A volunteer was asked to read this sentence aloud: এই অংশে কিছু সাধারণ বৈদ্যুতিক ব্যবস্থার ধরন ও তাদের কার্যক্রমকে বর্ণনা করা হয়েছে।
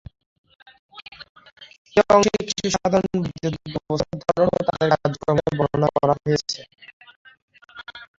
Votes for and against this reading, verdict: 0, 2, rejected